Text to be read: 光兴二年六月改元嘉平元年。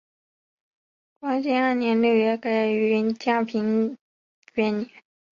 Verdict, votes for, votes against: rejected, 1, 2